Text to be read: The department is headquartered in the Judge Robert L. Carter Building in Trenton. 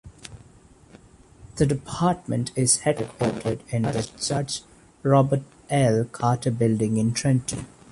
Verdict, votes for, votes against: accepted, 2, 0